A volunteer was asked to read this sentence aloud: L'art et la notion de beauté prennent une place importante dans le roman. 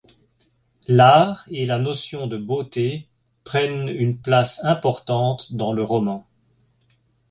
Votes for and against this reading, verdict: 2, 0, accepted